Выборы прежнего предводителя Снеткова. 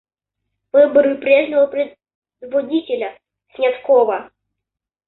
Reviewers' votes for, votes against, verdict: 0, 2, rejected